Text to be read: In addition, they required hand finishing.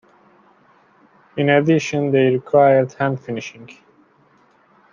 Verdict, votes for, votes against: accepted, 2, 0